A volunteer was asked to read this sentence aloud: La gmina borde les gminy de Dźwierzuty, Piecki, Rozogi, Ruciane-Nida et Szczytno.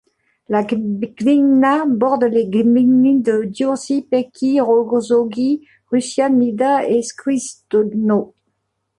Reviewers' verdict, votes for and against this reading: rejected, 1, 2